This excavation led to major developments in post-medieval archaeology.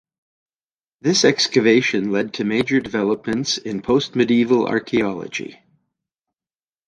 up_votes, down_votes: 2, 0